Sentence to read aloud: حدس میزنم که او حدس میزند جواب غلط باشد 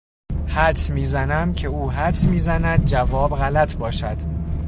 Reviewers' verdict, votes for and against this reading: accepted, 2, 0